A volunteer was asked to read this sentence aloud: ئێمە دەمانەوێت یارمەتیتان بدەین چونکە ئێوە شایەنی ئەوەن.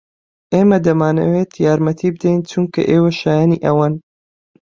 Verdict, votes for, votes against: rejected, 0, 2